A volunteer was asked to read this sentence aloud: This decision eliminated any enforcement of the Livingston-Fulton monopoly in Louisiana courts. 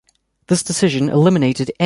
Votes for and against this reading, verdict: 0, 2, rejected